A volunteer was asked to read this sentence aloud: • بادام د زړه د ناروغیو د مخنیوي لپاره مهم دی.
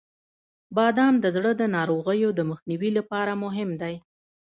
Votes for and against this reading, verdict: 2, 1, accepted